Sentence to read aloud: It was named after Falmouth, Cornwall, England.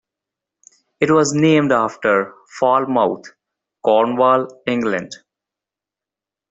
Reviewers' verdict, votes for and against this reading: accepted, 2, 0